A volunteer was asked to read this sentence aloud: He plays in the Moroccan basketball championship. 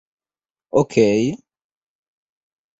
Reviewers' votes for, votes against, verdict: 0, 2, rejected